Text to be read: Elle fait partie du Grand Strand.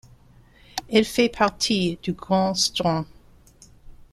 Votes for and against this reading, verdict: 2, 0, accepted